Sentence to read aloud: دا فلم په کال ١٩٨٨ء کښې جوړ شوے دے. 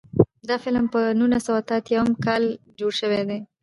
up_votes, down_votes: 0, 2